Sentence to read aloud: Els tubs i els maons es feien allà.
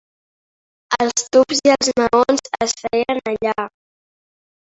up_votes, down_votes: 0, 2